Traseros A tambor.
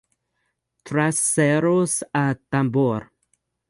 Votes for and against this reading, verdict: 2, 2, rejected